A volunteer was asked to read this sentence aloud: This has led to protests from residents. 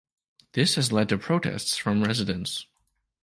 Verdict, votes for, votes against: accepted, 2, 0